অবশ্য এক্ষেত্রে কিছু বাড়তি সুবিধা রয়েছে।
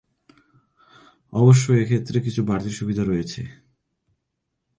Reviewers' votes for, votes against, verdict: 2, 1, accepted